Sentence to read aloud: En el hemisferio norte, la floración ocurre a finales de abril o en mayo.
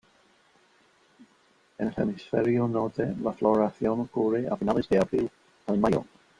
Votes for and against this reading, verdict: 0, 2, rejected